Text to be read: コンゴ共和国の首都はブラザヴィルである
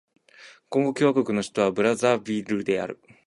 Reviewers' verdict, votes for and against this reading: accepted, 4, 0